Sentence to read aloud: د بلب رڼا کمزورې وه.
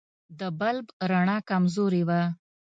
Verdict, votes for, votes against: accepted, 2, 0